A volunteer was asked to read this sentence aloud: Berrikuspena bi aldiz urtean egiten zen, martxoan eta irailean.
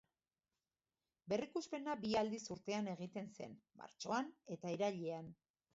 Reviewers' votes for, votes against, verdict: 2, 0, accepted